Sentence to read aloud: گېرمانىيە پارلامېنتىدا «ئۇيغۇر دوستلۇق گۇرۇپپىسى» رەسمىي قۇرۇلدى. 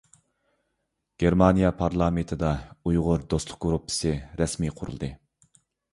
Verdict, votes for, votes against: accepted, 2, 0